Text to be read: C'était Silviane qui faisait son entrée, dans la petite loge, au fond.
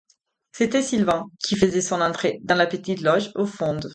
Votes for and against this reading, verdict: 0, 4, rejected